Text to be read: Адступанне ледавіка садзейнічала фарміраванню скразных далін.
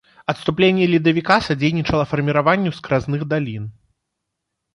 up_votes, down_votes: 2, 3